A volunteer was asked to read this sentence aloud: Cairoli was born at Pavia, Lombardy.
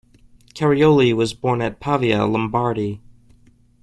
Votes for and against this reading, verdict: 1, 2, rejected